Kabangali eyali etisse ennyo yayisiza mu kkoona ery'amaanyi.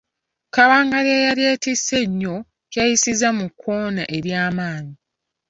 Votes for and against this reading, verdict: 1, 3, rejected